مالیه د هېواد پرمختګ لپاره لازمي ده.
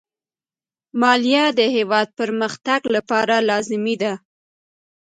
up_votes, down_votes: 1, 2